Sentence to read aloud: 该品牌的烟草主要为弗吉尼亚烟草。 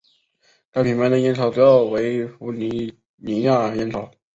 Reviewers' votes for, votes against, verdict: 2, 2, rejected